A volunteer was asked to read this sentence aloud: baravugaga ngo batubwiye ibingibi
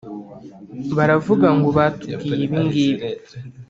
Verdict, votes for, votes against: rejected, 0, 2